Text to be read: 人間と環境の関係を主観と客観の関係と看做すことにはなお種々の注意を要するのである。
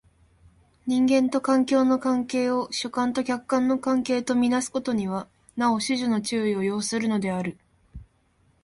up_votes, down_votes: 2, 0